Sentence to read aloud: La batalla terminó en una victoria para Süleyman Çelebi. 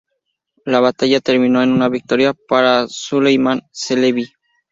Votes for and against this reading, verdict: 4, 0, accepted